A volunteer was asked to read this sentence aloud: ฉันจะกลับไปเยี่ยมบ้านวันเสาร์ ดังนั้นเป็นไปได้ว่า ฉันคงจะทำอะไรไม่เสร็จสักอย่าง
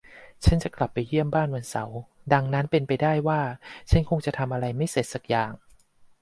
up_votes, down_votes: 2, 0